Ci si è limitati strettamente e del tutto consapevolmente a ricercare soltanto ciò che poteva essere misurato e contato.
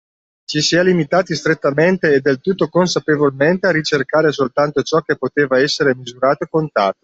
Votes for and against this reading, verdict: 2, 0, accepted